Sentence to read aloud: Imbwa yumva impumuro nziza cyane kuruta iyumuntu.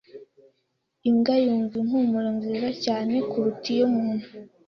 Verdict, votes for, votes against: accepted, 2, 0